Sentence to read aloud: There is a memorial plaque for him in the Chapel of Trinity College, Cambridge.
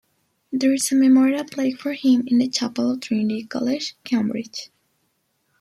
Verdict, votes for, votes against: rejected, 1, 2